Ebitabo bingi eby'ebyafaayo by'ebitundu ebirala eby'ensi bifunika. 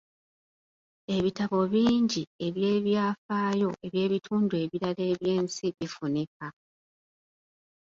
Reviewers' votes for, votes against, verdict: 2, 0, accepted